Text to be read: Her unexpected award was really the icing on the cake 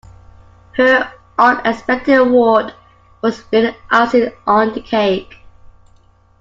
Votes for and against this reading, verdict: 0, 2, rejected